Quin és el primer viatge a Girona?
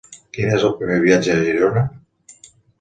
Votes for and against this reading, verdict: 2, 0, accepted